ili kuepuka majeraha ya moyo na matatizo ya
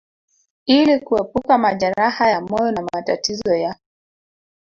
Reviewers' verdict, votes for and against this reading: rejected, 0, 2